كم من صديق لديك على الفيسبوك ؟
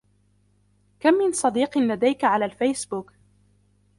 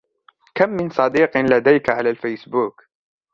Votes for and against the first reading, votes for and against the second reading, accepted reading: 0, 2, 2, 0, second